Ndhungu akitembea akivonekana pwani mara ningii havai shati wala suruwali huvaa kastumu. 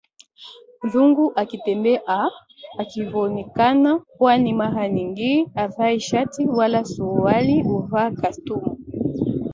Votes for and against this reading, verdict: 1, 2, rejected